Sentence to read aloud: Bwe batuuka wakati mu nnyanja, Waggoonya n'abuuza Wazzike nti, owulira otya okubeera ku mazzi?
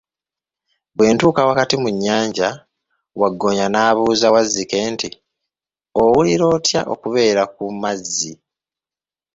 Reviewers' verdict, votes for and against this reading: rejected, 0, 2